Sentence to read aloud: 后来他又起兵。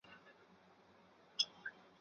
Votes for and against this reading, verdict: 0, 3, rejected